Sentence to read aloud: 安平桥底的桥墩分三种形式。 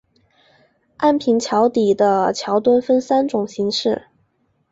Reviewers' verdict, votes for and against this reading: accepted, 4, 1